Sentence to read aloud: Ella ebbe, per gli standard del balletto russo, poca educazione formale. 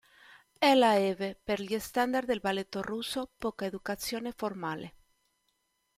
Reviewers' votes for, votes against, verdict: 0, 2, rejected